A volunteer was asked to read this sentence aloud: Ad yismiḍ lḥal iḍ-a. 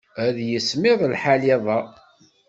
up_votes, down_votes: 2, 0